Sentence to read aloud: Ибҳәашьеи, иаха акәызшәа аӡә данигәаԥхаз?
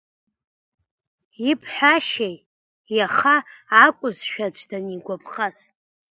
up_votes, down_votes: 1, 2